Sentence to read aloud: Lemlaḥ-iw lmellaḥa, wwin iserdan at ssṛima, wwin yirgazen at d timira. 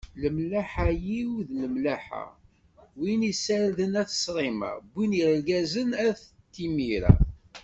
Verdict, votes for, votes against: rejected, 1, 2